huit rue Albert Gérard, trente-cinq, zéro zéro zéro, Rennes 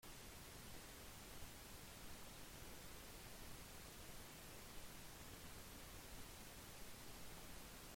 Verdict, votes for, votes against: rejected, 0, 2